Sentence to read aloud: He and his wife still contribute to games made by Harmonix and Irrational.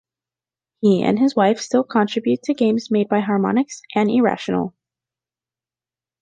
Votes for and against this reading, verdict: 2, 0, accepted